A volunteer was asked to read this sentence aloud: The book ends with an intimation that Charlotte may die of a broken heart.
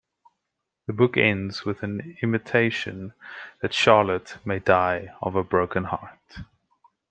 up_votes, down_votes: 0, 2